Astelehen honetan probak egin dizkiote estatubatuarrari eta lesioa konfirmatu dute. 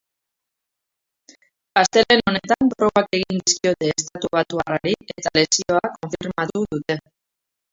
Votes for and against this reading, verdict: 0, 2, rejected